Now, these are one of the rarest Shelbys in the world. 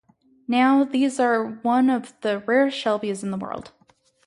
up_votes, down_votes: 0, 2